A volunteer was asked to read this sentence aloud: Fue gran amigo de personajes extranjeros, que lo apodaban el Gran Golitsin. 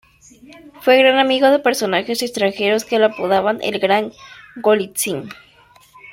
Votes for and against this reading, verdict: 1, 2, rejected